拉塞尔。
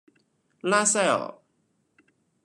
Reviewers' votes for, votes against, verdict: 2, 0, accepted